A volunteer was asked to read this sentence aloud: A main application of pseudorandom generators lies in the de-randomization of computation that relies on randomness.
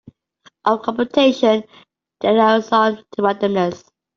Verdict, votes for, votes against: rejected, 0, 2